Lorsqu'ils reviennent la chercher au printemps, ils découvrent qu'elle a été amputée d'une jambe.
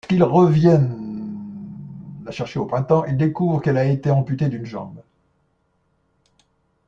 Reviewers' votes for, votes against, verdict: 1, 2, rejected